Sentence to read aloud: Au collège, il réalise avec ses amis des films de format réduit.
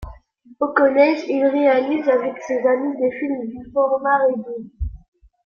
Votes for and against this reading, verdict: 0, 2, rejected